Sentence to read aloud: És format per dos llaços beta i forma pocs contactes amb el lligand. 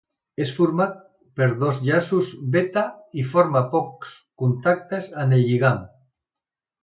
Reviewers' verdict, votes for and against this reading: accepted, 2, 0